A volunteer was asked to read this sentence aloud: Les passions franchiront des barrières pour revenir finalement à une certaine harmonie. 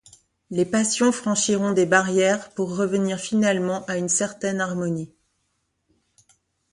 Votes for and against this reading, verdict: 2, 0, accepted